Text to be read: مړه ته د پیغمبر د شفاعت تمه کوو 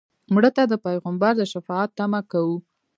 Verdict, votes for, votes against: accepted, 2, 1